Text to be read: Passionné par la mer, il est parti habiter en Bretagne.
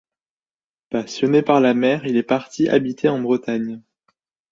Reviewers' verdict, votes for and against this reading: accepted, 2, 0